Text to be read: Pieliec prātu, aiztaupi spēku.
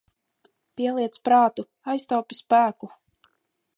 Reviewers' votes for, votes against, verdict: 2, 0, accepted